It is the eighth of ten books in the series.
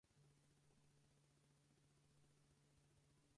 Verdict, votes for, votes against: rejected, 0, 4